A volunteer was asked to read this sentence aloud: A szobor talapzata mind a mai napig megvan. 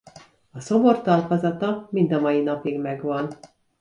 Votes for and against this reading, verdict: 1, 2, rejected